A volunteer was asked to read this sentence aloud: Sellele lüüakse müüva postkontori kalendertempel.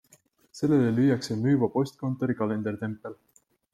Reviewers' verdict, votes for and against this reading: accepted, 2, 0